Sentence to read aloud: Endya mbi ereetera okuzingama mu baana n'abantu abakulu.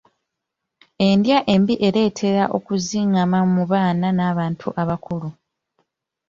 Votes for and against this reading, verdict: 2, 0, accepted